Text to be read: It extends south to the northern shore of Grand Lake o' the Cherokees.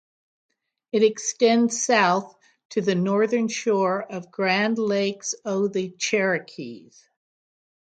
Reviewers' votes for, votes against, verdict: 0, 3, rejected